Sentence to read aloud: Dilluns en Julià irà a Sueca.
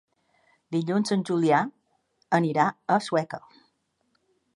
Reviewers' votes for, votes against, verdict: 1, 2, rejected